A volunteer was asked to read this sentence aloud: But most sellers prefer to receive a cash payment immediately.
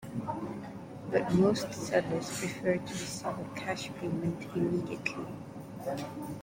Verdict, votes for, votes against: accepted, 2, 0